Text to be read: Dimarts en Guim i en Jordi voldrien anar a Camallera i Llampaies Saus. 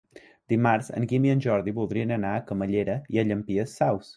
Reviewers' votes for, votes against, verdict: 1, 2, rejected